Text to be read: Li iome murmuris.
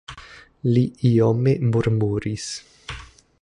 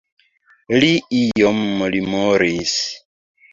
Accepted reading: first